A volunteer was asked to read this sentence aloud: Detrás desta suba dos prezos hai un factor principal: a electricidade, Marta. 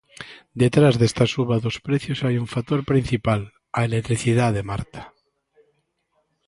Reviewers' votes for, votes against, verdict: 0, 2, rejected